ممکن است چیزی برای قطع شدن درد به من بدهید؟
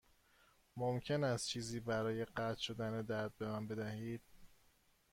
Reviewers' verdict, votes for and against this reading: accepted, 2, 1